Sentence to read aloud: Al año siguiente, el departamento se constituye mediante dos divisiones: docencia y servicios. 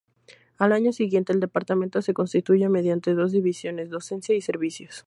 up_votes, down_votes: 2, 0